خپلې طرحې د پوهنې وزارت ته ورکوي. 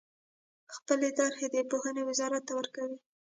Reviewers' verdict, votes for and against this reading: rejected, 0, 2